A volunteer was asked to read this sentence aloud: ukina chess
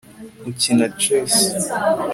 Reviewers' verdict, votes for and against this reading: accepted, 2, 0